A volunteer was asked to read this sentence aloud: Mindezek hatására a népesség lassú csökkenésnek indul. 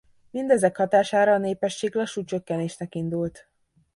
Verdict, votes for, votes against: rejected, 0, 2